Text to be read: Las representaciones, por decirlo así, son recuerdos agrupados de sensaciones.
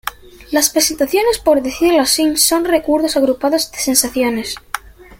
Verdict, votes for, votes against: rejected, 1, 2